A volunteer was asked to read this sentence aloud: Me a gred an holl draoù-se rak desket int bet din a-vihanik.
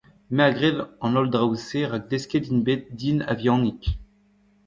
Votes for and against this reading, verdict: 1, 2, rejected